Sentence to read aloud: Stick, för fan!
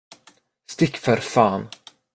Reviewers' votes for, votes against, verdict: 2, 1, accepted